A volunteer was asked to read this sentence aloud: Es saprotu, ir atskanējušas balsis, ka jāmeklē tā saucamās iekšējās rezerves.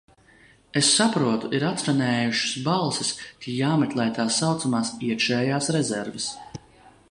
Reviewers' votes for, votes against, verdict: 2, 0, accepted